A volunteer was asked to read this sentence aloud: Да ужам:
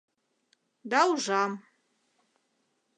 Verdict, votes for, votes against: accepted, 2, 0